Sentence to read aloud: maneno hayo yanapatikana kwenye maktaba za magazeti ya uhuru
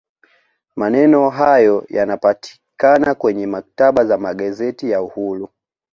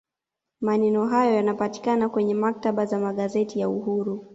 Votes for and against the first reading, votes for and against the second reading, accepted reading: 1, 2, 2, 0, second